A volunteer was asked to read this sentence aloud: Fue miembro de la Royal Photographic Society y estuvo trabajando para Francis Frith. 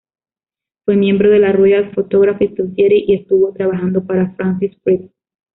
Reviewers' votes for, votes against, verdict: 0, 2, rejected